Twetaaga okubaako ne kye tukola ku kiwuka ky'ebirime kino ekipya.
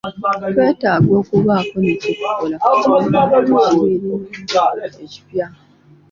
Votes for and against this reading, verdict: 0, 2, rejected